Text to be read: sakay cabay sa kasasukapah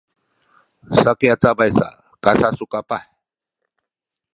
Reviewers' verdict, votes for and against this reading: accepted, 2, 0